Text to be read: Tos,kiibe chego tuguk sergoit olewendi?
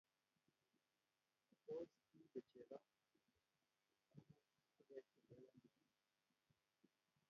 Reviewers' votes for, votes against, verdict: 0, 2, rejected